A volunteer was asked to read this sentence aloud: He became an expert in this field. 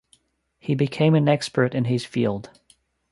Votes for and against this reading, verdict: 1, 2, rejected